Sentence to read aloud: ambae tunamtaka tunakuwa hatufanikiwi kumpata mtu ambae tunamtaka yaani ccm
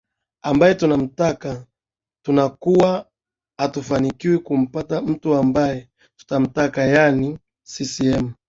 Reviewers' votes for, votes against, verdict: 0, 2, rejected